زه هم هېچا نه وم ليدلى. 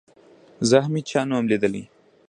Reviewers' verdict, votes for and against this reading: rejected, 1, 2